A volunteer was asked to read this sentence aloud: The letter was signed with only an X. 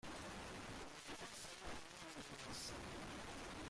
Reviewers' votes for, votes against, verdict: 0, 2, rejected